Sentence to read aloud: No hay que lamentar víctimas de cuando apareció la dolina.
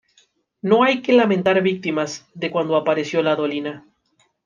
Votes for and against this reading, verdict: 2, 1, accepted